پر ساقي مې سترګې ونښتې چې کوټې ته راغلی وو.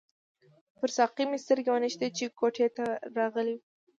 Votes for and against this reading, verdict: 2, 1, accepted